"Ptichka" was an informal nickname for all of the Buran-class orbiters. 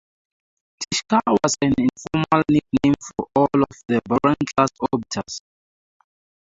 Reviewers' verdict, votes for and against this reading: accepted, 4, 2